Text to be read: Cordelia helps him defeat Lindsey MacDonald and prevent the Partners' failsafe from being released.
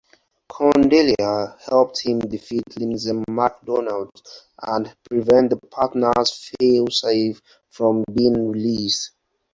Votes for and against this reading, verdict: 0, 4, rejected